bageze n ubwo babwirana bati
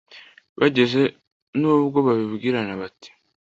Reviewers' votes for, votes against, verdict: 1, 2, rejected